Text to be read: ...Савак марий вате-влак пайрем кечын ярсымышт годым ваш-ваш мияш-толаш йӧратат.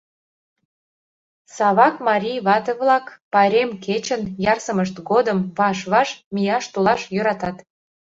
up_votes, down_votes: 2, 0